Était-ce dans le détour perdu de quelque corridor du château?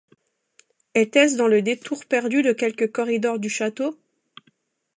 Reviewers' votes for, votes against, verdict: 2, 0, accepted